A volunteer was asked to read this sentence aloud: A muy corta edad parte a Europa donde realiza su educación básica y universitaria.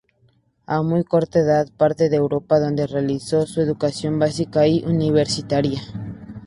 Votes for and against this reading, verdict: 0, 2, rejected